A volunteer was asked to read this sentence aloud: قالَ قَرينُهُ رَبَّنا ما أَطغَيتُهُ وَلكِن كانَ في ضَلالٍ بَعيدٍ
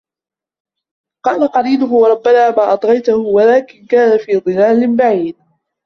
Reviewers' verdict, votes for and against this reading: rejected, 0, 2